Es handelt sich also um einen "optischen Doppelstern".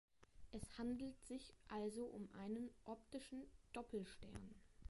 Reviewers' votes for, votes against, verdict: 2, 1, accepted